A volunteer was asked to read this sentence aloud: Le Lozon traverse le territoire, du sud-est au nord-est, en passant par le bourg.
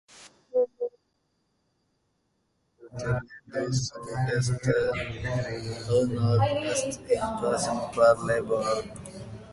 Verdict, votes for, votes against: rejected, 1, 2